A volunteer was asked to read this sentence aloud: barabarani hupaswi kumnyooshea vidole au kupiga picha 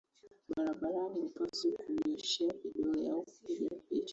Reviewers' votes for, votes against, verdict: 2, 1, accepted